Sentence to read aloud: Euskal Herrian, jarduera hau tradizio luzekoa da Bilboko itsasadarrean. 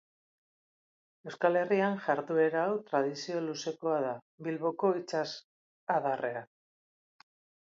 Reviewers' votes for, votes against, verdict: 0, 2, rejected